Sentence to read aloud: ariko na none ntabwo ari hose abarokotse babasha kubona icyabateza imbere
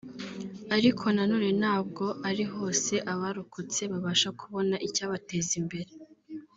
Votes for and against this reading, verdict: 1, 2, rejected